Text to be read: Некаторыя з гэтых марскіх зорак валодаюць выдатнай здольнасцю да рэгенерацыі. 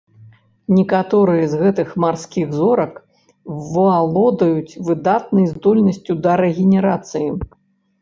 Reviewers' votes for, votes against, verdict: 0, 2, rejected